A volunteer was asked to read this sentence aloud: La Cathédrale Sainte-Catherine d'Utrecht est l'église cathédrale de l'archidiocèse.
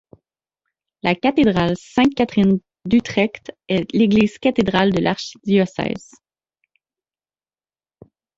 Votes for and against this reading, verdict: 2, 0, accepted